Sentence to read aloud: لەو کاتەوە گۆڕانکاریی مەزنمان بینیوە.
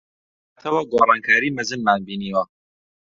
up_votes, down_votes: 0, 2